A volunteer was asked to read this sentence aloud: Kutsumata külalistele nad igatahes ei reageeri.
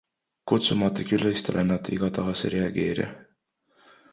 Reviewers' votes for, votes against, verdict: 2, 0, accepted